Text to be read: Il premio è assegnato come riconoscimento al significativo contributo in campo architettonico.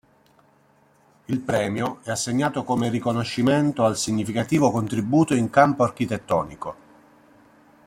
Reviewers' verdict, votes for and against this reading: accepted, 3, 0